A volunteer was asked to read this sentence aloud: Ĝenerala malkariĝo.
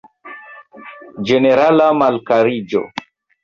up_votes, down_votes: 1, 2